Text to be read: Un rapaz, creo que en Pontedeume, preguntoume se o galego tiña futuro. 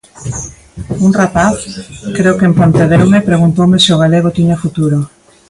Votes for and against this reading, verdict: 1, 2, rejected